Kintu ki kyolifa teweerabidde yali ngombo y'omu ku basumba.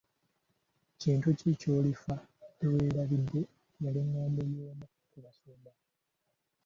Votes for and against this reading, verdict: 0, 2, rejected